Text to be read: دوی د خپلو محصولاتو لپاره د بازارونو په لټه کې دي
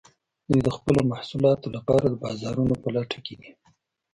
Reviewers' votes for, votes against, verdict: 2, 0, accepted